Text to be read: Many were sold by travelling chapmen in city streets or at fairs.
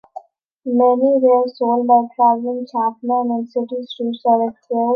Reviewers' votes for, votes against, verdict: 0, 3, rejected